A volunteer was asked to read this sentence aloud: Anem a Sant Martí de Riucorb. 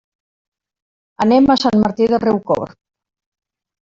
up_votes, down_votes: 1, 2